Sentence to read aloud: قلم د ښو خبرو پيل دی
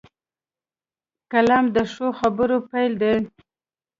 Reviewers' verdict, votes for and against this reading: accepted, 2, 0